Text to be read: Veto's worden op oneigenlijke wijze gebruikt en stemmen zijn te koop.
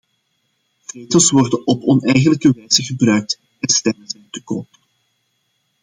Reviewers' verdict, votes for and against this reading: rejected, 0, 2